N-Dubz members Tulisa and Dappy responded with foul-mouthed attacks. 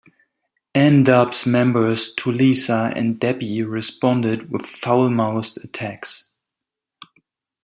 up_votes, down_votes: 0, 2